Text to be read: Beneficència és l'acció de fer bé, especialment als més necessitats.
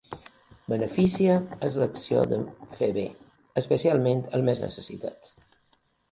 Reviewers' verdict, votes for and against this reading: rejected, 1, 2